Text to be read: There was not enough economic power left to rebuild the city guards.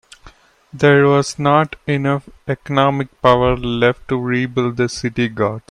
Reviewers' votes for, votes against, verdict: 1, 2, rejected